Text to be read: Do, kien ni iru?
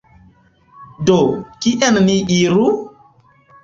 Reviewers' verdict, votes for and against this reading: accepted, 2, 0